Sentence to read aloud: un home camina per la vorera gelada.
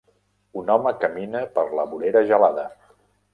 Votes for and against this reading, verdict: 3, 0, accepted